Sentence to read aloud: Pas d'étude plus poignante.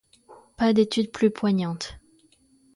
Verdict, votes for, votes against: accepted, 2, 0